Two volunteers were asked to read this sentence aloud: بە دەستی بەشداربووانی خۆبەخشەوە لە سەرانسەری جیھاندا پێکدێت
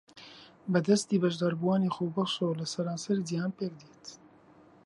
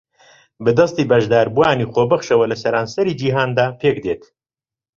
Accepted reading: second